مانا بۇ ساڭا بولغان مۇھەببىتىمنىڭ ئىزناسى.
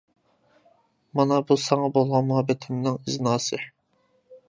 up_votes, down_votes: 2, 1